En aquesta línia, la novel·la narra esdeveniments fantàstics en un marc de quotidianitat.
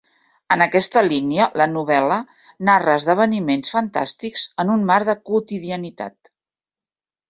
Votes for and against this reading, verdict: 2, 0, accepted